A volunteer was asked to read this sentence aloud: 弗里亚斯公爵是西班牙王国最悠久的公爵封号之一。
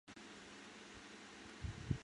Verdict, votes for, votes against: rejected, 0, 2